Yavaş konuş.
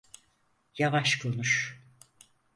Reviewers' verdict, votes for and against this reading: accepted, 4, 0